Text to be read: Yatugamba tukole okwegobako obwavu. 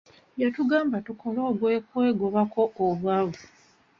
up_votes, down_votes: 1, 2